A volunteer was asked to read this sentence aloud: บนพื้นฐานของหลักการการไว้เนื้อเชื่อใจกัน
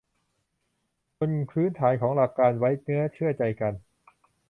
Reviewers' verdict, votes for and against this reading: rejected, 0, 2